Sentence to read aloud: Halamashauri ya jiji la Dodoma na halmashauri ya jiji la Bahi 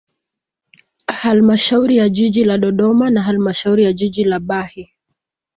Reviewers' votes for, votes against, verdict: 3, 2, accepted